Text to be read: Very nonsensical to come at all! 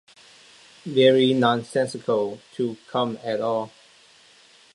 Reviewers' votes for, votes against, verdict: 2, 0, accepted